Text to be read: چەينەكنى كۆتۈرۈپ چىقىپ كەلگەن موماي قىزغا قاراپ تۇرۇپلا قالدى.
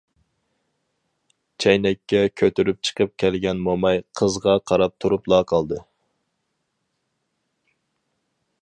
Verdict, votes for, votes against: rejected, 0, 4